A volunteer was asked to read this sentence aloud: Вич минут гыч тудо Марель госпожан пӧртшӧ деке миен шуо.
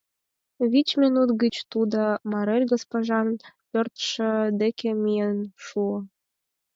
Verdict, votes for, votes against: accepted, 4, 0